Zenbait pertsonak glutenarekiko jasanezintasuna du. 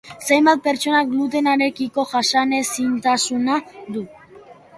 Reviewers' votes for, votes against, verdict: 2, 0, accepted